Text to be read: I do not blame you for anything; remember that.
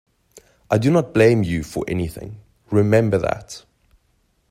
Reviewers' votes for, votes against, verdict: 2, 0, accepted